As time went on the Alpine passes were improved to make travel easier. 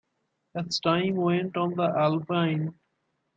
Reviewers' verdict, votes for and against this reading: rejected, 0, 2